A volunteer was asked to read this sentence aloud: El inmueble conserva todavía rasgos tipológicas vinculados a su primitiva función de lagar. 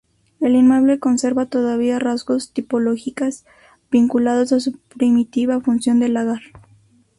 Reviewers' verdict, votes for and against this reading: accepted, 2, 0